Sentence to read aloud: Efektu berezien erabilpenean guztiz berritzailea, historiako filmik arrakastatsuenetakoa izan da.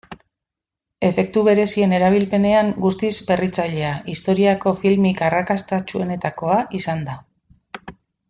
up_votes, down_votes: 2, 0